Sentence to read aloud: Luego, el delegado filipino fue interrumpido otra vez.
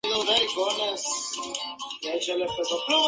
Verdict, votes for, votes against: rejected, 0, 4